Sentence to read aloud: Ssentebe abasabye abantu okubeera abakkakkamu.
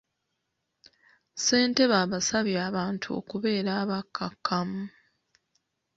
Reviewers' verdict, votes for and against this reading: accepted, 2, 0